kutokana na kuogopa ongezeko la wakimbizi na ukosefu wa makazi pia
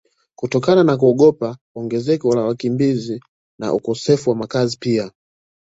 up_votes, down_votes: 1, 2